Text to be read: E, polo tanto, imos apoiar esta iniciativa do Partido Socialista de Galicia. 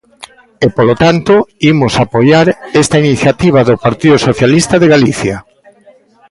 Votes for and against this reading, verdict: 1, 2, rejected